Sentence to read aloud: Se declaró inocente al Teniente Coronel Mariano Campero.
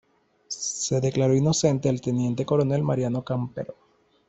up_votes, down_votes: 2, 0